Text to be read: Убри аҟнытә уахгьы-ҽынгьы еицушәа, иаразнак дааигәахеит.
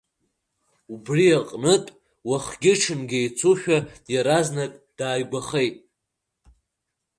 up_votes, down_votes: 2, 0